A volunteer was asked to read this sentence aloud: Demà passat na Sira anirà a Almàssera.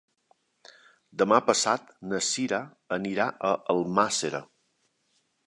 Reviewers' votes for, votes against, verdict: 2, 1, accepted